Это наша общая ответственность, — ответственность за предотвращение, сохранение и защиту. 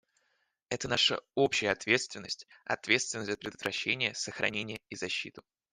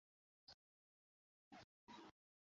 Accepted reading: first